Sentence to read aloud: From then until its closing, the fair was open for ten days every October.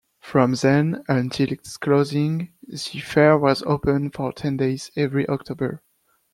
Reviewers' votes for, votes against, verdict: 2, 0, accepted